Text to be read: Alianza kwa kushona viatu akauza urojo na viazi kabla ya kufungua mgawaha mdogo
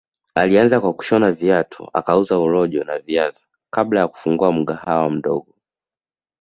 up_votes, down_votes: 2, 0